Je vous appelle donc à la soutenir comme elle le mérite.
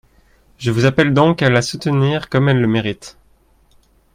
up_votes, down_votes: 2, 0